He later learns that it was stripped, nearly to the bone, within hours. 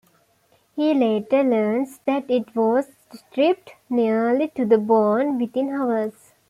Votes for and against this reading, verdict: 2, 0, accepted